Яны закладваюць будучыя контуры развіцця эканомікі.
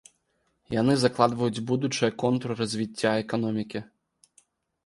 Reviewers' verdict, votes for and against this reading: accepted, 2, 0